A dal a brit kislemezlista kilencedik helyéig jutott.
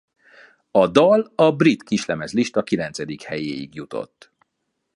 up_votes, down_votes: 2, 0